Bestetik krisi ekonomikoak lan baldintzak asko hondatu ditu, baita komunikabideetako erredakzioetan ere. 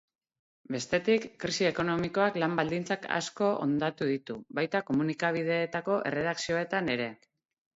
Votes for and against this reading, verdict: 2, 0, accepted